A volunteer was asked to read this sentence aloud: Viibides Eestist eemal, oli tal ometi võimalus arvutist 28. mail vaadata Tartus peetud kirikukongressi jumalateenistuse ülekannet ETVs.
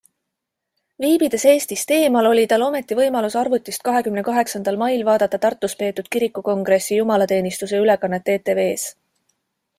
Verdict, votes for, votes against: rejected, 0, 2